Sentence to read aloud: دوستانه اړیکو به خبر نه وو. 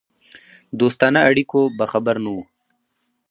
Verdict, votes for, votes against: rejected, 2, 2